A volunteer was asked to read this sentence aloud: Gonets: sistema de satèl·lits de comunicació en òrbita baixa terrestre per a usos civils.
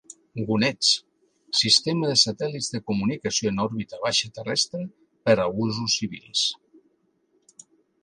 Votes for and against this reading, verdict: 2, 1, accepted